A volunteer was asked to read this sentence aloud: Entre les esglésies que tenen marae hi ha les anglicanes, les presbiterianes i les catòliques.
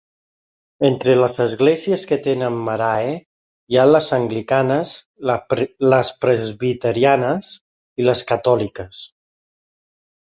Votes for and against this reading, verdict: 1, 3, rejected